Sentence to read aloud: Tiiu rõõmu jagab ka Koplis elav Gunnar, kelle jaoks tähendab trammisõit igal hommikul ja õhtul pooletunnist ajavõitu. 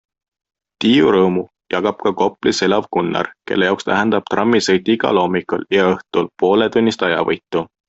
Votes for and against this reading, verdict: 2, 0, accepted